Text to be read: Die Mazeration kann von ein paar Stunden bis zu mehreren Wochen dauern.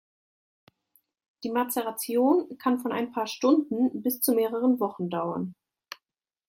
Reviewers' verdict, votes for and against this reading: accepted, 2, 0